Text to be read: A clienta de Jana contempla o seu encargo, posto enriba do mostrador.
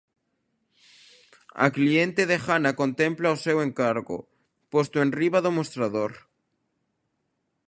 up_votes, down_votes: 1, 2